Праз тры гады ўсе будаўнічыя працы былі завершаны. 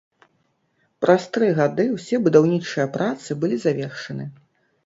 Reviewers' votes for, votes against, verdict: 2, 0, accepted